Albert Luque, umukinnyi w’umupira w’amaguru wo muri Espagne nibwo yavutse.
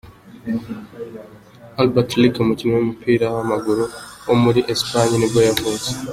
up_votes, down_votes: 2, 0